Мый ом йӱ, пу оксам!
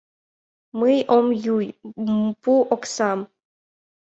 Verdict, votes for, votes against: rejected, 0, 2